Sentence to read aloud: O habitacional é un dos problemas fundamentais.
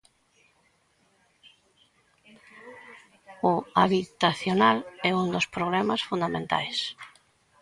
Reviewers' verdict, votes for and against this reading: rejected, 0, 2